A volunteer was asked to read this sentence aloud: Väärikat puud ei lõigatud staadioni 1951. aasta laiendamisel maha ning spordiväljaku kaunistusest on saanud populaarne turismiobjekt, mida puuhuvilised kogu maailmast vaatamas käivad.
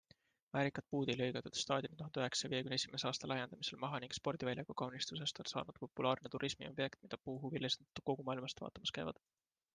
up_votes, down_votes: 0, 2